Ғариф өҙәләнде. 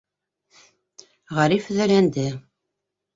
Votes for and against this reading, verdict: 2, 0, accepted